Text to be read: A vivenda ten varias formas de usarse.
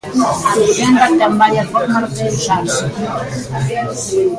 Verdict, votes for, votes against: rejected, 0, 2